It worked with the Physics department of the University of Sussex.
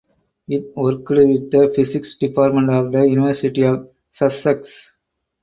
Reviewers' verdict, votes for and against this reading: rejected, 2, 4